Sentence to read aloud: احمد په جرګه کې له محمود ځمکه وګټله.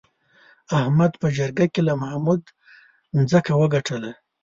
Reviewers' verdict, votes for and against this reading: rejected, 1, 2